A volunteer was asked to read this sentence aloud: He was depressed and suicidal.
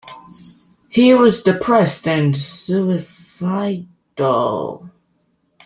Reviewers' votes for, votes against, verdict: 2, 1, accepted